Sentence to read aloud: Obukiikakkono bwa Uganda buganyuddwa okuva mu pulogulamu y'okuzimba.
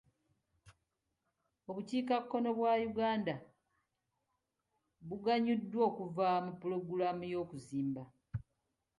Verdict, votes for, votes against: accepted, 2, 0